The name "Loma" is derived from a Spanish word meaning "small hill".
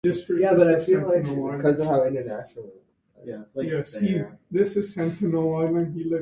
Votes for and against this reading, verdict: 0, 2, rejected